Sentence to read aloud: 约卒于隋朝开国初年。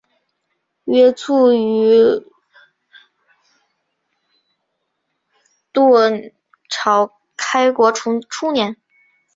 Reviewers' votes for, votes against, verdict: 0, 2, rejected